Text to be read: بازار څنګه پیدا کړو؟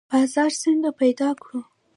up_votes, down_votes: 0, 3